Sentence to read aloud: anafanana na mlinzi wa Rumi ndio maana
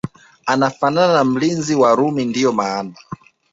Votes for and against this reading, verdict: 2, 0, accepted